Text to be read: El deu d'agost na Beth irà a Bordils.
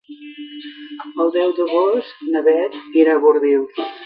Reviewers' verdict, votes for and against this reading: accepted, 2, 1